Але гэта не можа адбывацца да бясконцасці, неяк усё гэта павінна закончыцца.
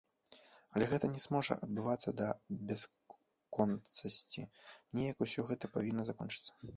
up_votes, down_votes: 0, 2